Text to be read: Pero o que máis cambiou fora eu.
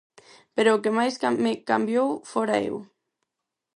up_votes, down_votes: 2, 4